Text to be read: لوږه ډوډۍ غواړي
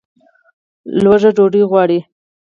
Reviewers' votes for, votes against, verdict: 4, 0, accepted